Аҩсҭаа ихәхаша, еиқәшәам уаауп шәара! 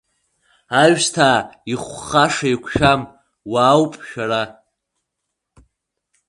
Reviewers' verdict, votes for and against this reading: rejected, 1, 2